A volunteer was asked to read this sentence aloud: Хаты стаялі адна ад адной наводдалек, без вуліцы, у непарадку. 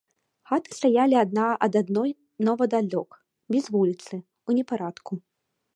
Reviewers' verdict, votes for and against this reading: rejected, 1, 2